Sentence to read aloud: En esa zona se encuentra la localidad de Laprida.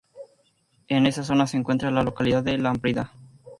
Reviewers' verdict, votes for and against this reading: rejected, 0, 4